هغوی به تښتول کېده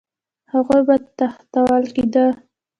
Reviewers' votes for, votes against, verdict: 2, 1, accepted